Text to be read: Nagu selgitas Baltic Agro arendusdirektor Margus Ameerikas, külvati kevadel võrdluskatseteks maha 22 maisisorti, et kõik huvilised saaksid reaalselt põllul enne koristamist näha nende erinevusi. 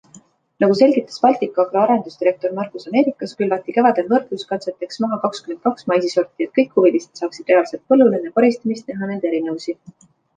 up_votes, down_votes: 0, 2